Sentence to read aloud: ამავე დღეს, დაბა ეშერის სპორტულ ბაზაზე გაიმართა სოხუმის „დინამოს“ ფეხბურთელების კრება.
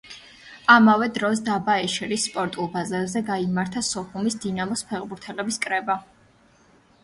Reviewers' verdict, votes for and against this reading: rejected, 0, 2